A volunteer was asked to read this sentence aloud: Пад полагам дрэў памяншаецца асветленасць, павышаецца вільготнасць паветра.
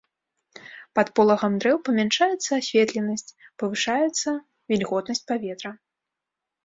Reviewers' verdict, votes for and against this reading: accepted, 2, 0